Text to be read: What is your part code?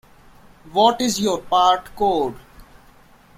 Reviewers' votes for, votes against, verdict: 2, 0, accepted